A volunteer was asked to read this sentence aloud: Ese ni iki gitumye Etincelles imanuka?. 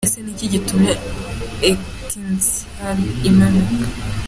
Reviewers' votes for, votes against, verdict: 2, 0, accepted